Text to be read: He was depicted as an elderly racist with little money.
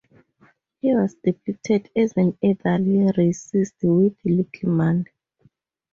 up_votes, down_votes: 2, 0